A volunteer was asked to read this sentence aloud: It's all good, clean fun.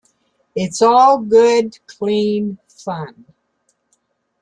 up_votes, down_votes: 0, 2